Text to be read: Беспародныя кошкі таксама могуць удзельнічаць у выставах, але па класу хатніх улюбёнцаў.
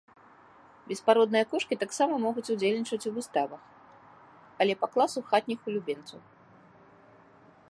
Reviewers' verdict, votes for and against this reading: rejected, 1, 2